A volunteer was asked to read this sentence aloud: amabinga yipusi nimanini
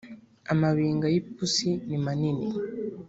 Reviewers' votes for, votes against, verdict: 2, 0, accepted